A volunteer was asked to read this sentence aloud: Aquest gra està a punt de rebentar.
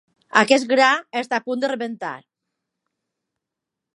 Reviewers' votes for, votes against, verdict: 2, 0, accepted